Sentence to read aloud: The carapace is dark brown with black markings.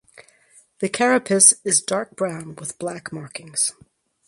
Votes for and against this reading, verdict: 4, 0, accepted